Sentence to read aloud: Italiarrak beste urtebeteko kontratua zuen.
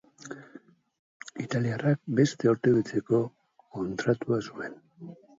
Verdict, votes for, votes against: rejected, 0, 2